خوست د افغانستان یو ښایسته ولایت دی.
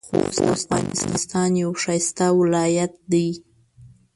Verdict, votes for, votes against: rejected, 0, 2